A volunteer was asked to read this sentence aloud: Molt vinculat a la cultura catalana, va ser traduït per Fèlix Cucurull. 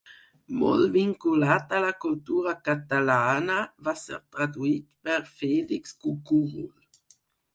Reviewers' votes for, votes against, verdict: 2, 4, rejected